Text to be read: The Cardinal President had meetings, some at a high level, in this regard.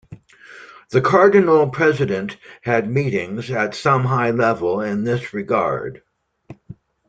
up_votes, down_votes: 0, 2